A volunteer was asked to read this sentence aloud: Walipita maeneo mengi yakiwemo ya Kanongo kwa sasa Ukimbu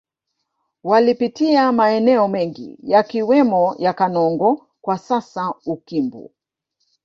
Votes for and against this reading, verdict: 2, 0, accepted